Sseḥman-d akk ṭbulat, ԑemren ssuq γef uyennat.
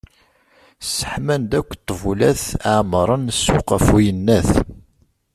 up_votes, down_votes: 2, 1